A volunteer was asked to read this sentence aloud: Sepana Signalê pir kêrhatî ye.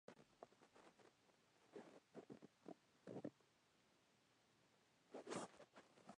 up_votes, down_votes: 0, 2